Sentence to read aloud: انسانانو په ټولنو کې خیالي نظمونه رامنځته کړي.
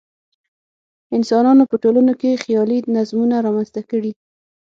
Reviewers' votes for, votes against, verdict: 6, 0, accepted